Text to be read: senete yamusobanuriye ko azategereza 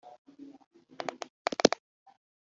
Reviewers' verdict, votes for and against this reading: rejected, 1, 3